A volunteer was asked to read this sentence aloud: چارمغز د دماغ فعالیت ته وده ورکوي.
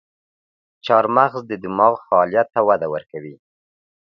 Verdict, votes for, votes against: accepted, 2, 0